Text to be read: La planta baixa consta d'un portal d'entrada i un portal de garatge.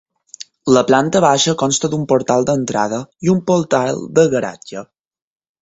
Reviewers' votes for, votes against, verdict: 0, 4, rejected